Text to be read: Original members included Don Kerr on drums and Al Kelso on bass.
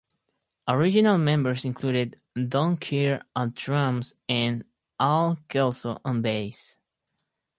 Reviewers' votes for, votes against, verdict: 4, 0, accepted